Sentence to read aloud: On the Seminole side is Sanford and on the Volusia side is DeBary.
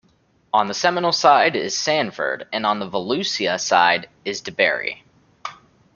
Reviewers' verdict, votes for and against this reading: accepted, 2, 0